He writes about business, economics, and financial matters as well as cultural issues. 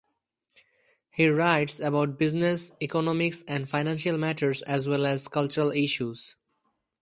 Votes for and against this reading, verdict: 2, 2, rejected